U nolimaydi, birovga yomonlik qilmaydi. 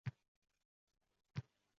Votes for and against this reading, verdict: 0, 2, rejected